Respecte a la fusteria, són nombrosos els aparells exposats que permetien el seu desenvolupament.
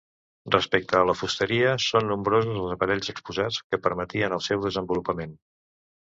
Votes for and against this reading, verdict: 2, 0, accepted